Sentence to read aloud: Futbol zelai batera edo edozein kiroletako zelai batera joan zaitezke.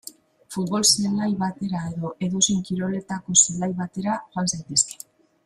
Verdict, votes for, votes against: rejected, 1, 3